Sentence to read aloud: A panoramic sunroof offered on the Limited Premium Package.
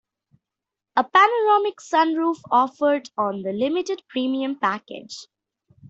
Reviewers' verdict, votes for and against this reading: accepted, 2, 0